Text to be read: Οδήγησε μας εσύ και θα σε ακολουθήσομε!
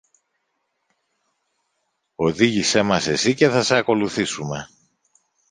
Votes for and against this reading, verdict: 0, 2, rejected